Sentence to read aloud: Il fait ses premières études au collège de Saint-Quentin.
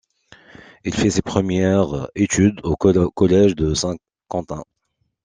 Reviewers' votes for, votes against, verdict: 0, 2, rejected